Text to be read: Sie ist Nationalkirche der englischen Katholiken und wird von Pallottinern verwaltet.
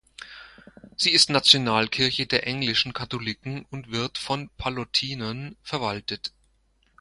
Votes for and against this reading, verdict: 2, 0, accepted